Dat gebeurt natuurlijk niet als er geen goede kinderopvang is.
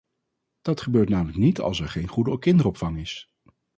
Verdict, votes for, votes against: rejected, 0, 4